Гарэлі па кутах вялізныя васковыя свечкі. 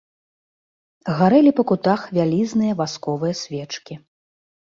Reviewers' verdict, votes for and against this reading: accepted, 2, 0